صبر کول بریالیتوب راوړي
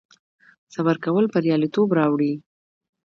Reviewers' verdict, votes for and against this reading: accepted, 2, 0